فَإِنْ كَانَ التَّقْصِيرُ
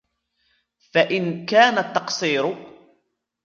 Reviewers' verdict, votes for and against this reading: accepted, 2, 1